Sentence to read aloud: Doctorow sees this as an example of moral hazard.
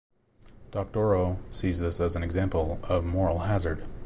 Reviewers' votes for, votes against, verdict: 3, 0, accepted